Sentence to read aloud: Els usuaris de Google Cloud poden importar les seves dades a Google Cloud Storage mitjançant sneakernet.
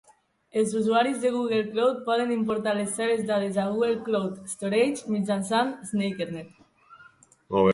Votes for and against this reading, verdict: 2, 0, accepted